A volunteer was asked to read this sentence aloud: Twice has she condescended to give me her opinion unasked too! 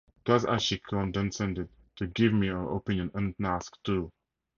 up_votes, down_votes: 4, 0